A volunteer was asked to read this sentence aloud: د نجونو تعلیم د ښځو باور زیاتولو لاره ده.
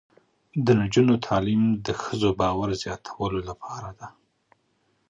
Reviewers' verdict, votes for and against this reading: rejected, 0, 2